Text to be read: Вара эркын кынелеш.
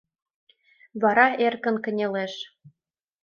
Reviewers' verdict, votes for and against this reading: accepted, 2, 0